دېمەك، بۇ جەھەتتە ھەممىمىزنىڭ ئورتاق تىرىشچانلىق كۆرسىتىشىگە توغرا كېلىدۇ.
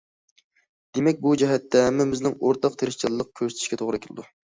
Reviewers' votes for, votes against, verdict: 2, 0, accepted